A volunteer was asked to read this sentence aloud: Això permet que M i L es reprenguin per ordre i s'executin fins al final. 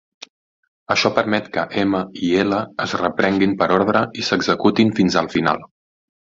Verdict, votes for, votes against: accepted, 4, 0